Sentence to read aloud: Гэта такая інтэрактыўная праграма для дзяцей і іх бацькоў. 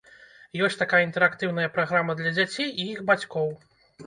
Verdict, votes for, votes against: rejected, 0, 2